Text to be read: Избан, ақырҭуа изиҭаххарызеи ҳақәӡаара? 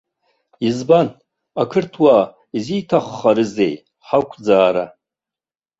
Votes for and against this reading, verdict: 1, 2, rejected